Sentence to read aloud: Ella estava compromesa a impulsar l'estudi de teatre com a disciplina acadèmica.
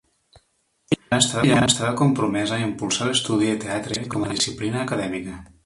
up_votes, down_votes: 1, 2